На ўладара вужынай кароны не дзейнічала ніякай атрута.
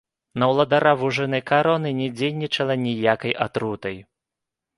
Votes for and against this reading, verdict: 2, 1, accepted